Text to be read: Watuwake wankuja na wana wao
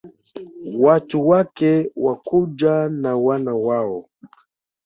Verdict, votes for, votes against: rejected, 1, 2